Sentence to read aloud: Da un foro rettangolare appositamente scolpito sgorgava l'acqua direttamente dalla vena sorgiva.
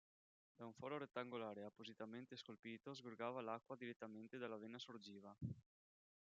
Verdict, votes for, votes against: rejected, 2, 3